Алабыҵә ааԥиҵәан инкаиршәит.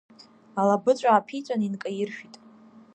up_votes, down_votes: 2, 0